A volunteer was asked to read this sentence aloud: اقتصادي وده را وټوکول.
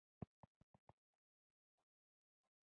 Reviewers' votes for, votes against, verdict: 2, 0, accepted